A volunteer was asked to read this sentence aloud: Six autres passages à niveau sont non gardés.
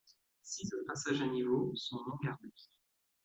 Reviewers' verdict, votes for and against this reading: accepted, 2, 0